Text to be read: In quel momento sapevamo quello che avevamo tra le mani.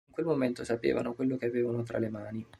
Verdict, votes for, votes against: rejected, 2, 3